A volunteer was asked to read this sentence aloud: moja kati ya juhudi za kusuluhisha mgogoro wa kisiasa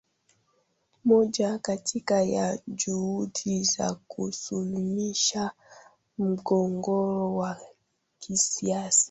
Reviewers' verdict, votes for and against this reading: rejected, 0, 2